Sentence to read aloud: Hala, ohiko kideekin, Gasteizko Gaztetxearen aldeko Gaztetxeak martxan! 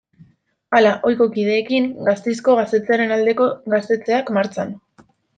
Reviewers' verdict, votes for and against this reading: rejected, 0, 2